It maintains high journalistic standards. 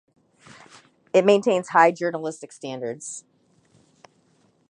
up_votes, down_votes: 2, 0